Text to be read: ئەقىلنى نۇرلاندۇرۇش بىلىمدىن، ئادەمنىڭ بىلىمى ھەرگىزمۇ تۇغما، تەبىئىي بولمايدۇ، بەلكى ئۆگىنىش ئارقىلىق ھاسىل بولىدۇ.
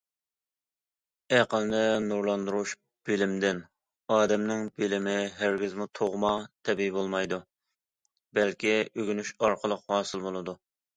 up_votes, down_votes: 2, 0